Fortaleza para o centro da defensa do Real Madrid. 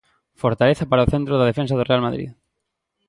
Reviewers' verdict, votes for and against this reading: accepted, 2, 0